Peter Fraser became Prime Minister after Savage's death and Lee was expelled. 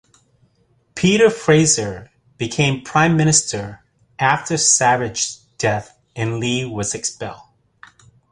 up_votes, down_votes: 2, 0